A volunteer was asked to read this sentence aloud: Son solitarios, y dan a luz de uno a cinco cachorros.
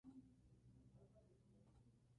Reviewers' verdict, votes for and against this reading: rejected, 0, 2